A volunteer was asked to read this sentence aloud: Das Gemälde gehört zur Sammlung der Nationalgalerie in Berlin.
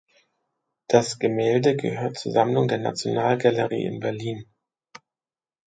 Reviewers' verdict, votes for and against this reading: accepted, 2, 0